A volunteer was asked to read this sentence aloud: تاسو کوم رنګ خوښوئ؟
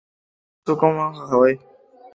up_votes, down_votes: 1, 2